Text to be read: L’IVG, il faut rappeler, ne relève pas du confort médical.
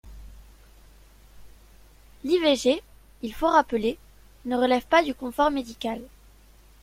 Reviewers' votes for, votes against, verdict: 2, 0, accepted